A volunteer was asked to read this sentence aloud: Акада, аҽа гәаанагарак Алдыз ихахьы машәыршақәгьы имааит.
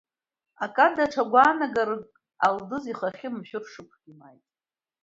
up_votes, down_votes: 1, 2